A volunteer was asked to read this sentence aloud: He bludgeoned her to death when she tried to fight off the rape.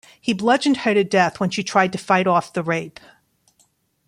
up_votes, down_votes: 2, 0